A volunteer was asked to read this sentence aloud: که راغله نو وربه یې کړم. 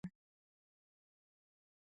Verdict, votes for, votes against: rejected, 0, 10